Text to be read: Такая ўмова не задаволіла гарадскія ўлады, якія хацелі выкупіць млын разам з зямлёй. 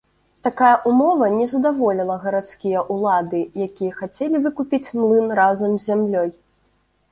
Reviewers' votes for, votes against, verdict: 1, 2, rejected